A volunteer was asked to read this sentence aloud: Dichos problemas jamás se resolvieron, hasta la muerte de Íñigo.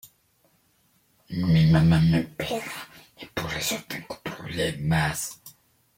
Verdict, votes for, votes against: rejected, 0, 2